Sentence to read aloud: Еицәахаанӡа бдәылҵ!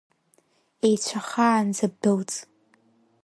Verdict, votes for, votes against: rejected, 1, 2